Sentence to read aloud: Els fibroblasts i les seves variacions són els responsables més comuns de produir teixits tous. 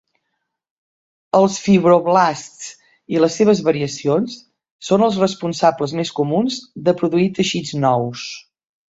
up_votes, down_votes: 1, 2